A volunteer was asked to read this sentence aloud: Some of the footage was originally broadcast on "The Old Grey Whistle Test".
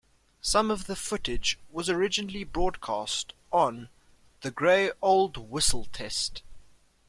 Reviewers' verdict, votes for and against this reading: rejected, 1, 2